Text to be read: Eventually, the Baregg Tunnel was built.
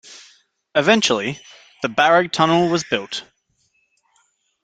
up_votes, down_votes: 2, 0